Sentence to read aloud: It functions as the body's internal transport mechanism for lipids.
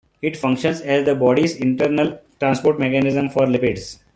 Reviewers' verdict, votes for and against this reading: accepted, 2, 0